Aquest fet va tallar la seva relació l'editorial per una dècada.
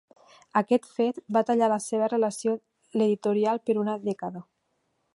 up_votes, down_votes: 2, 0